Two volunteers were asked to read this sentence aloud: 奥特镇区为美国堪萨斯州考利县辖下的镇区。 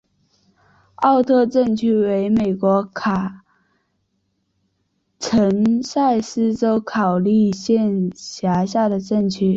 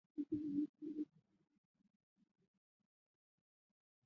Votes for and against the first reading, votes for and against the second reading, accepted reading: 4, 2, 0, 4, first